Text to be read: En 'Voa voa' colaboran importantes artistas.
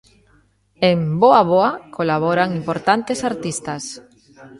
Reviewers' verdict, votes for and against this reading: rejected, 0, 2